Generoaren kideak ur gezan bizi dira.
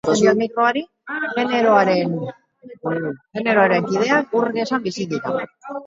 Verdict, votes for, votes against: rejected, 0, 4